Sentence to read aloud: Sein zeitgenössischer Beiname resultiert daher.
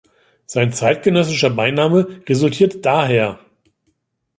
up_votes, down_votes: 2, 0